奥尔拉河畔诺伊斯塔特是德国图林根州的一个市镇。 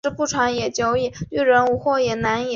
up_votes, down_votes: 1, 6